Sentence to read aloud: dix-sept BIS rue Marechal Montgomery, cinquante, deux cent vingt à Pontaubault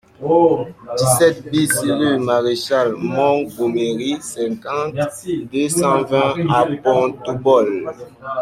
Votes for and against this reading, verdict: 2, 0, accepted